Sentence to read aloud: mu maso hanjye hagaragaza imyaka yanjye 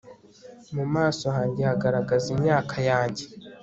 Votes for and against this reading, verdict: 2, 0, accepted